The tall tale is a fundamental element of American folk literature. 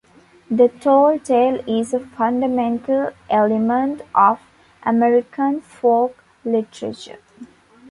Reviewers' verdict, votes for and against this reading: accepted, 2, 1